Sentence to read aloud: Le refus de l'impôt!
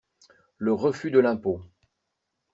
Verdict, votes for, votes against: accepted, 2, 0